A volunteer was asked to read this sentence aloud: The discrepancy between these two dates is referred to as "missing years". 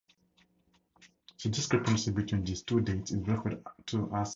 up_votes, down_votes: 0, 10